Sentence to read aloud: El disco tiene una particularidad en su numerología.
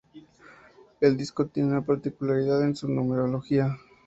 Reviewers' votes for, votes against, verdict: 2, 0, accepted